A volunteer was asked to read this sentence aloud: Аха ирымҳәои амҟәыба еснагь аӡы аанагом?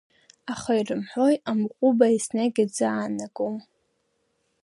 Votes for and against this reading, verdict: 2, 0, accepted